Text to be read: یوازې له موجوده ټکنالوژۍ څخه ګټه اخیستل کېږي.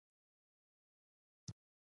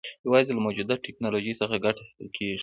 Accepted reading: second